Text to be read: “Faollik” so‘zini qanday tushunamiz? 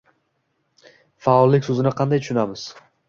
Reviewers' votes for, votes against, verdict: 2, 0, accepted